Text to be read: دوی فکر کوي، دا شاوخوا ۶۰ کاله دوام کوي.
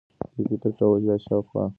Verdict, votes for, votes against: rejected, 0, 2